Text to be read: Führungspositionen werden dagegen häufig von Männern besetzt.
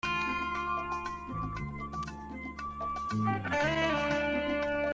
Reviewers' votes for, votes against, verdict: 0, 2, rejected